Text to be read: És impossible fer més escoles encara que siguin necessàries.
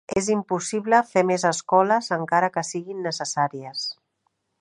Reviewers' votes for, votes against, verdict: 3, 1, accepted